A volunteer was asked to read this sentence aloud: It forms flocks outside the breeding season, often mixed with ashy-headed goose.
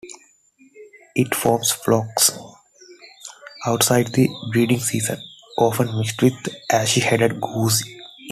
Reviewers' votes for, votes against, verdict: 2, 1, accepted